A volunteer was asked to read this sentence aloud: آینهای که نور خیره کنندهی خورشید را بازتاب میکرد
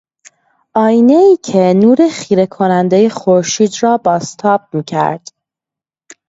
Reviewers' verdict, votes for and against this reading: accepted, 2, 0